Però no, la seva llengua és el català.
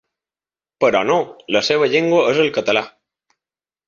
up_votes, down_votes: 3, 0